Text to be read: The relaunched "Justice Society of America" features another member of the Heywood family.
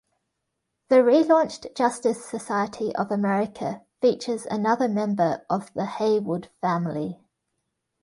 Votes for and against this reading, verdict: 2, 0, accepted